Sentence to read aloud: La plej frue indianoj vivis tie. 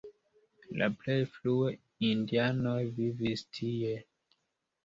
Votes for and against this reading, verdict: 2, 0, accepted